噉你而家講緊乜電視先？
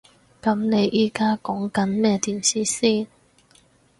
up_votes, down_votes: 0, 4